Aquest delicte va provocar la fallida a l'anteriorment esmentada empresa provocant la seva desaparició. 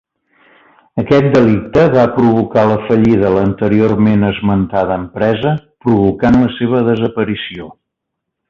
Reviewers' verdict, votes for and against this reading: accepted, 2, 0